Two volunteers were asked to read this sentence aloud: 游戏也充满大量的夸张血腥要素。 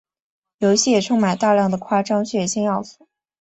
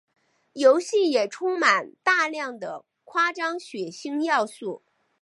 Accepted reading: first